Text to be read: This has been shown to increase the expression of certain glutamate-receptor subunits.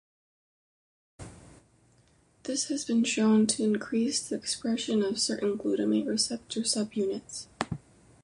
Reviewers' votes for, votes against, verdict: 2, 0, accepted